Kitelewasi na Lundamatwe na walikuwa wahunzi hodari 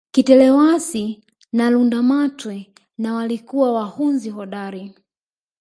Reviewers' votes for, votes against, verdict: 4, 1, accepted